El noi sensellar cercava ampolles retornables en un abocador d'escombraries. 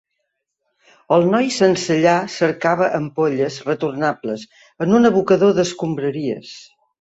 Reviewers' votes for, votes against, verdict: 2, 0, accepted